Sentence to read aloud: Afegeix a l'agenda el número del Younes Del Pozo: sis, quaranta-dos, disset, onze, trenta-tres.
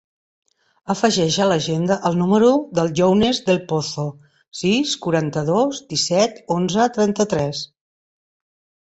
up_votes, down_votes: 2, 0